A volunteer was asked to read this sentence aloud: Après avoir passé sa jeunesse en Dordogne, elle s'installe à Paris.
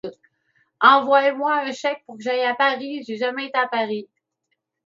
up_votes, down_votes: 0, 2